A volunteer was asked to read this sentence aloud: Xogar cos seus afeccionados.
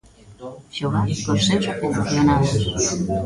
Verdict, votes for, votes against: rejected, 1, 2